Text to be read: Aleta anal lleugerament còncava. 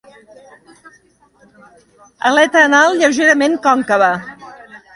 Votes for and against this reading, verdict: 2, 0, accepted